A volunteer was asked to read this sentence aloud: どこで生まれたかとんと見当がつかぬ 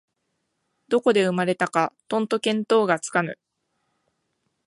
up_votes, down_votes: 2, 0